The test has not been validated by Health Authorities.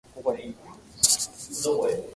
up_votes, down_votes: 0, 2